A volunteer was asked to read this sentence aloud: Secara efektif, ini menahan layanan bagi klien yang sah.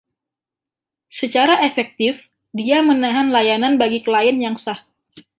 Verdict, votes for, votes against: rejected, 1, 2